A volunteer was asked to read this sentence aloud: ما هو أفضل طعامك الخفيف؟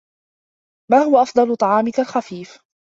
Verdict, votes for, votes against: accepted, 2, 0